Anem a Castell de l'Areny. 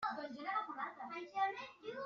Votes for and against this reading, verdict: 0, 2, rejected